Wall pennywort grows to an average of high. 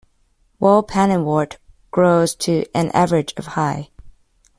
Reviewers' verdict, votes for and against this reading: rejected, 0, 2